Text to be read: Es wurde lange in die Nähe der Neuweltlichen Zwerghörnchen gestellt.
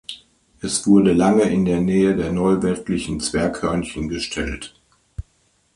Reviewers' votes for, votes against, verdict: 3, 2, accepted